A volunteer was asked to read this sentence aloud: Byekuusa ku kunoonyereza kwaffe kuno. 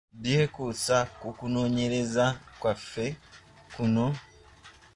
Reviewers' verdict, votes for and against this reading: rejected, 1, 2